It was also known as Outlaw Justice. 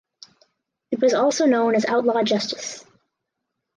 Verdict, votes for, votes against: accepted, 4, 0